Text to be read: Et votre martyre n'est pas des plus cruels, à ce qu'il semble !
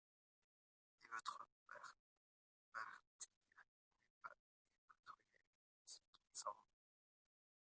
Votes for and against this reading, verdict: 0, 2, rejected